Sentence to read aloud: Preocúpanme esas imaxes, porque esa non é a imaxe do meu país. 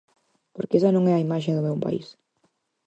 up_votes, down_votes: 0, 4